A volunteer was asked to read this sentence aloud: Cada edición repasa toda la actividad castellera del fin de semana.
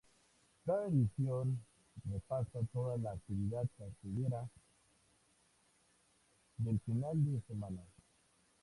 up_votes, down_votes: 0, 2